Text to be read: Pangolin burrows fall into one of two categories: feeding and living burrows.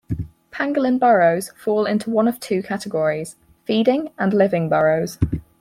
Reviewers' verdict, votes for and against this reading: accepted, 4, 0